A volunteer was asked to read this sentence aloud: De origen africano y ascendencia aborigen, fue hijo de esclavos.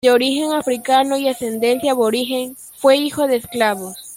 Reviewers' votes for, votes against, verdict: 2, 0, accepted